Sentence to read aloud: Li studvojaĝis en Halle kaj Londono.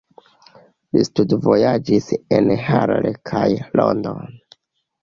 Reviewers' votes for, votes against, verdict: 0, 2, rejected